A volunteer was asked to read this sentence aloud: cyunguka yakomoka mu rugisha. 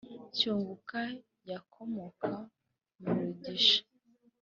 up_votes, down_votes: 3, 0